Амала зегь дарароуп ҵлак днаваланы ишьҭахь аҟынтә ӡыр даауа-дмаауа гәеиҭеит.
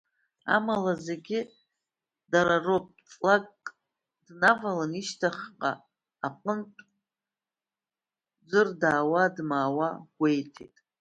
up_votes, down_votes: 0, 2